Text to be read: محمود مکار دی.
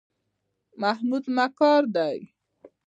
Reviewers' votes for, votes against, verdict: 0, 2, rejected